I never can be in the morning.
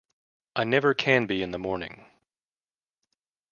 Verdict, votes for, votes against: accepted, 2, 0